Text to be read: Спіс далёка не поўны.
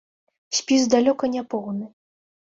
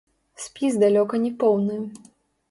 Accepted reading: first